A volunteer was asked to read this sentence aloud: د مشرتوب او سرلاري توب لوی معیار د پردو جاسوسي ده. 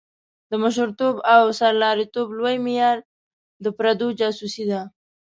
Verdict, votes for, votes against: accepted, 2, 0